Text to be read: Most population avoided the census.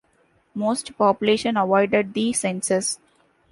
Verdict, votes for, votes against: accepted, 2, 0